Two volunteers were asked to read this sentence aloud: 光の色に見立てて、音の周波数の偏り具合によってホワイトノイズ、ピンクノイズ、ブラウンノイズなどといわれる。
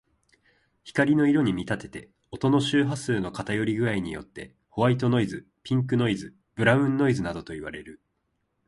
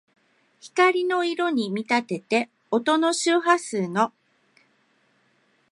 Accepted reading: first